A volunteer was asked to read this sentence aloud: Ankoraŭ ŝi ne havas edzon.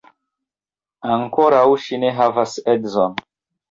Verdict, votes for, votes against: accepted, 2, 0